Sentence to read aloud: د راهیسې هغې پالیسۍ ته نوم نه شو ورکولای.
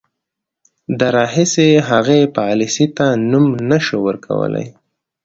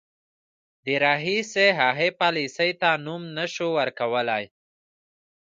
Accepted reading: first